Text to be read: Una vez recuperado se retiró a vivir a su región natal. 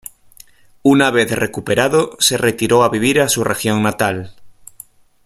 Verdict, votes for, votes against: accepted, 2, 0